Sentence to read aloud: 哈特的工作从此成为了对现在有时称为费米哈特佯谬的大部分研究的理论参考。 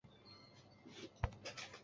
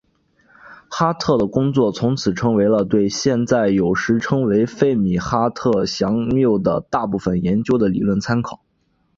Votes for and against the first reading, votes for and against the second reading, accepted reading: 1, 2, 2, 0, second